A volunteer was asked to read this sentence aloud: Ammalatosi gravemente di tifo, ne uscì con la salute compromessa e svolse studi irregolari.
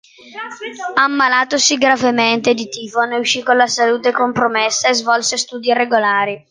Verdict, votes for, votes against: accepted, 2, 0